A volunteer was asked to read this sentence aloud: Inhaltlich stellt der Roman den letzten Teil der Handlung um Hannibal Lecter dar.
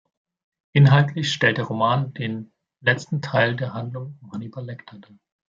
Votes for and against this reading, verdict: 0, 2, rejected